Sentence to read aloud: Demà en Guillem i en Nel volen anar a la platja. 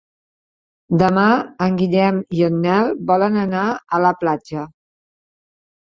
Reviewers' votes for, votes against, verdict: 3, 0, accepted